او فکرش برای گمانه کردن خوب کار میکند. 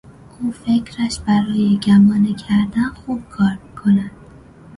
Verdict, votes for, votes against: accepted, 2, 0